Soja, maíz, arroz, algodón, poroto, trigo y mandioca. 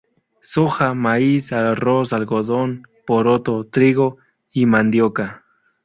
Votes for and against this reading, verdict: 2, 2, rejected